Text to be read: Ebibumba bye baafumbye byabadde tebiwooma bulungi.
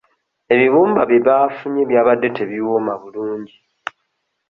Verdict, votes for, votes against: rejected, 1, 2